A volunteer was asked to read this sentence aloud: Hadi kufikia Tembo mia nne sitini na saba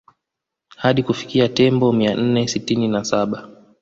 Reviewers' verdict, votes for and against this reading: accepted, 2, 0